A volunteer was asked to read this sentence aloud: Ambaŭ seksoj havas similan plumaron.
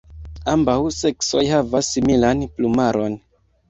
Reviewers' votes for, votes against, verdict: 2, 0, accepted